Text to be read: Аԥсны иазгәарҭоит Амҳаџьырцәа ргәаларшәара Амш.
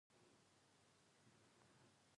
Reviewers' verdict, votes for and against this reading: rejected, 1, 2